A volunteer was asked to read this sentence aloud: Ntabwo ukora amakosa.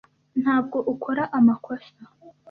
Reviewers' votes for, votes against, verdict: 2, 0, accepted